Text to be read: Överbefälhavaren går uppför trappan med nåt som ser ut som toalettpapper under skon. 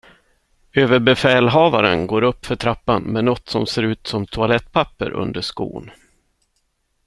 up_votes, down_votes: 2, 0